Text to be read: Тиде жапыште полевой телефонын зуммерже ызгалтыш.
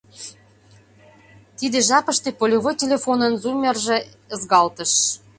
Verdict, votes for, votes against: accepted, 2, 0